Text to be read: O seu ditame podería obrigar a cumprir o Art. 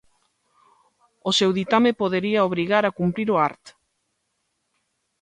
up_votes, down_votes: 3, 0